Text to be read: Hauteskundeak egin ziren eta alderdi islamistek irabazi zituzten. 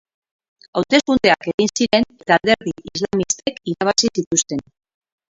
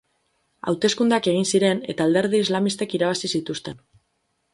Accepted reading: second